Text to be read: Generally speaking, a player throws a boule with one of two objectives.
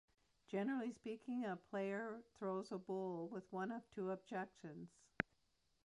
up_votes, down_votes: 0, 2